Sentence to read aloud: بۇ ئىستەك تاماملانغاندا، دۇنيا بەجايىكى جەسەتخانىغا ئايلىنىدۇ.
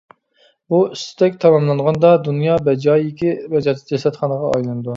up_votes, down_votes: 0, 2